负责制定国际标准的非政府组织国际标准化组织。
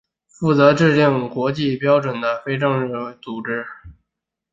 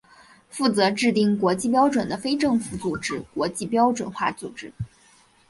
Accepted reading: second